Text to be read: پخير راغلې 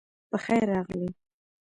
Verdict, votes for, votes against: rejected, 1, 2